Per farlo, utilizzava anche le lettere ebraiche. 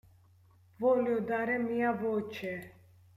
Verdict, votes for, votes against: rejected, 0, 2